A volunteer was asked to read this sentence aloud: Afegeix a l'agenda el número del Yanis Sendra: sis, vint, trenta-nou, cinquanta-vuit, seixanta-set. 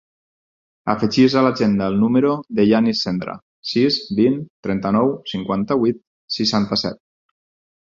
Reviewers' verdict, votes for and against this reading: accepted, 4, 2